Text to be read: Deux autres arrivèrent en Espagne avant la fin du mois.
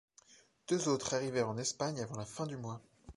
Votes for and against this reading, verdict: 2, 0, accepted